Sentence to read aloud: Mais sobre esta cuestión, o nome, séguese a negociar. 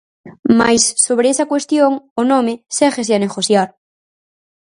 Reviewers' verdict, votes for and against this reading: rejected, 0, 4